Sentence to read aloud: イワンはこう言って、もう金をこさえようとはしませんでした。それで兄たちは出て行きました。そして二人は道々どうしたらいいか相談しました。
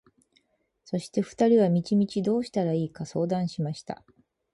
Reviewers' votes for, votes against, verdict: 0, 4, rejected